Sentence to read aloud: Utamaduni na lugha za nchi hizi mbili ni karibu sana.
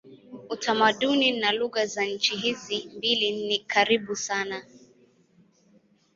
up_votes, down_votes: 2, 0